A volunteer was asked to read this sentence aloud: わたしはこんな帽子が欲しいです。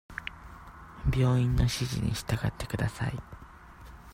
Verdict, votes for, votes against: rejected, 0, 2